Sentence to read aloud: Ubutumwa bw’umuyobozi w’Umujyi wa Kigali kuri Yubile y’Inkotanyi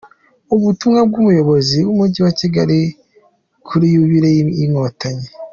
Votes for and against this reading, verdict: 2, 1, accepted